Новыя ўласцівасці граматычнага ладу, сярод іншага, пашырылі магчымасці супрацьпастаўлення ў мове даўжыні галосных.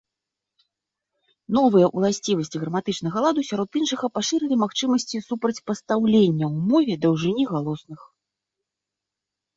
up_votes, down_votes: 2, 0